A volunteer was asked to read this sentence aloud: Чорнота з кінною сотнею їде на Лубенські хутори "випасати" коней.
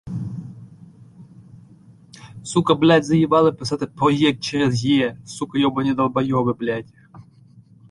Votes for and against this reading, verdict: 0, 2, rejected